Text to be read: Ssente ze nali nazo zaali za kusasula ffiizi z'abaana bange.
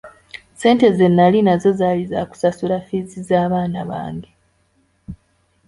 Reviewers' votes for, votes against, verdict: 2, 0, accepted